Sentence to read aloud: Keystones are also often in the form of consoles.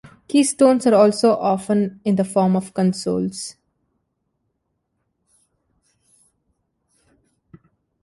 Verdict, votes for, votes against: accepted, 2, 0